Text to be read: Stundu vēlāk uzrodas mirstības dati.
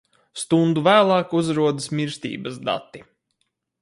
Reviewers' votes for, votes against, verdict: 2, 2, rejected